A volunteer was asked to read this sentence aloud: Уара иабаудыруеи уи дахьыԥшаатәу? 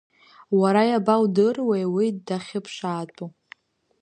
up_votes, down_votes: 2, 0